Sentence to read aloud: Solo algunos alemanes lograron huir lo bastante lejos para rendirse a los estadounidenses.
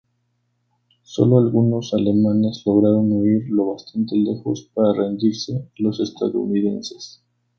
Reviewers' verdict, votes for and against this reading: accepted, 2, 0